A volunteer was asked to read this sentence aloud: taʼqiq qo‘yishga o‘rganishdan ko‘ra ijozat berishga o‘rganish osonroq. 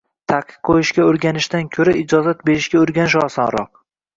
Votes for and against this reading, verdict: 1, 2, rejected